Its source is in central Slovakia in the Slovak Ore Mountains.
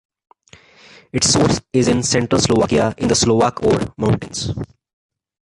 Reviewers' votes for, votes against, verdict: 2, 1, accepted